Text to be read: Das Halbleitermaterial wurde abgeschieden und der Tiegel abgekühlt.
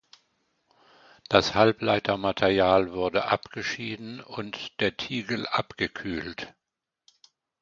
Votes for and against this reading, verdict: 2, 0, accepted